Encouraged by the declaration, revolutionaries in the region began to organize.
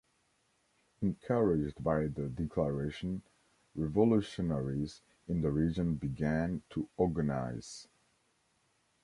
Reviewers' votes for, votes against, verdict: 2, 0, accepted